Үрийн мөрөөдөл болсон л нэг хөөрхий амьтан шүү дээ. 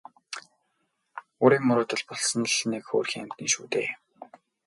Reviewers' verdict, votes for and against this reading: accepted, 4, 2